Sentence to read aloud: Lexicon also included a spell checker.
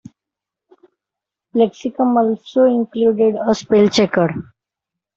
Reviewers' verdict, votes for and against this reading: accepted, 2, 1